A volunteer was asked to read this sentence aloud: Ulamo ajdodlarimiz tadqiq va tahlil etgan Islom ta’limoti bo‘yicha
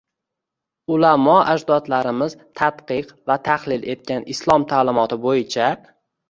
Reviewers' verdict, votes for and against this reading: rejected, 1, 2